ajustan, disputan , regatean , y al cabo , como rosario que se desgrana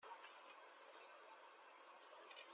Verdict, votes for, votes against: rejected, 0, 2